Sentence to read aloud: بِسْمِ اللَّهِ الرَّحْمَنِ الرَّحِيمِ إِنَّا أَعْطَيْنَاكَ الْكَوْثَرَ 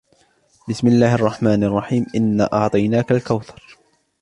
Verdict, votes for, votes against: rejected, 0, 2